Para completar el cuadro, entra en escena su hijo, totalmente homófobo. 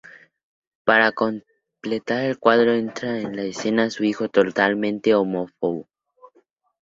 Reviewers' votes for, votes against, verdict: 0, 2, rejected